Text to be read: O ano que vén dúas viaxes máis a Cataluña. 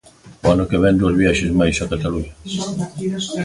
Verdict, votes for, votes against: rejected, 0, 2